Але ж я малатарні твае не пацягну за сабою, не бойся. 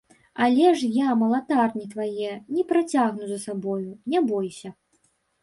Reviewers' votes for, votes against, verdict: 1, 2, rejected